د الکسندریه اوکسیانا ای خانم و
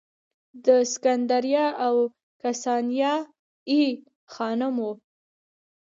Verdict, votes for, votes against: rejected, 1, 2